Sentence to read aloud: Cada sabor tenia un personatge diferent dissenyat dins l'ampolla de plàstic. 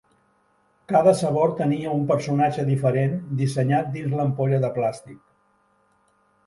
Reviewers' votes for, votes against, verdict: 2, 0, accepted